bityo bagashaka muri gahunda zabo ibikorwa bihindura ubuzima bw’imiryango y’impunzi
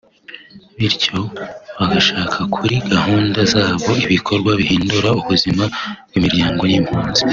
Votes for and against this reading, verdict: 4, 3, accepted